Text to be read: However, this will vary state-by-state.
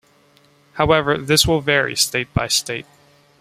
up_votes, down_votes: 2, 0